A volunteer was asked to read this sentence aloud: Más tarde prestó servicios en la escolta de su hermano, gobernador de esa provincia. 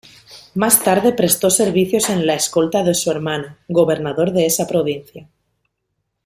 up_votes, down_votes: 2, 0